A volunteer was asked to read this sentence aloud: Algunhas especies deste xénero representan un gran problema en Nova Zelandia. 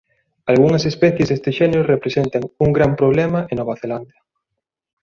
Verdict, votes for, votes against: rejected, 1, 2